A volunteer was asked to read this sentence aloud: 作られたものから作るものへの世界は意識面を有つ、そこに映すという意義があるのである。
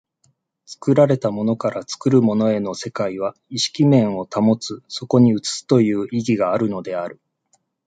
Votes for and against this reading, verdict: 2, 1, accepted